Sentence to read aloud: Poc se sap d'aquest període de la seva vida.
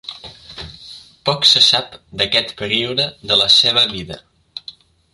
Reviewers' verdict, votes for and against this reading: accepted, 3, 0